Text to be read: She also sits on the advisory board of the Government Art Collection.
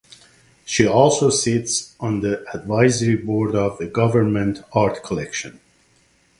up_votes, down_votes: 2, 0